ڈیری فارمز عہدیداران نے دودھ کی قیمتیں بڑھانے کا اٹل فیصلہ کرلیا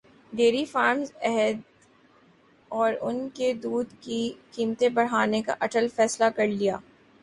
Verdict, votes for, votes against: rejected, 0, 2